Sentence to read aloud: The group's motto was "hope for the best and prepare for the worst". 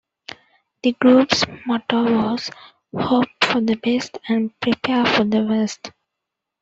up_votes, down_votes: 2, 0